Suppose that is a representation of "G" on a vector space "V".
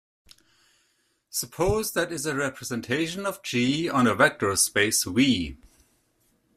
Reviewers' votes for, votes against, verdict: 2, 0, accepted